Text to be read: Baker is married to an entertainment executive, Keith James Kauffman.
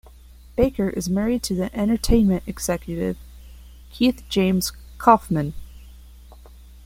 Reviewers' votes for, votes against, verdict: 1, 2, rejected